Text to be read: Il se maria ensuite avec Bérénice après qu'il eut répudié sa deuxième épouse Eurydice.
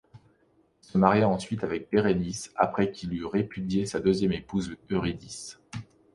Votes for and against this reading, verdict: 2, 1, accepted